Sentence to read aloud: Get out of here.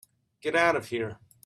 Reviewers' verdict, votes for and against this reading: accepted, 3, 0